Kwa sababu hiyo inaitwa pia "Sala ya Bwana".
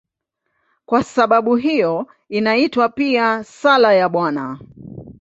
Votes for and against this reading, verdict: 2, 0, accepted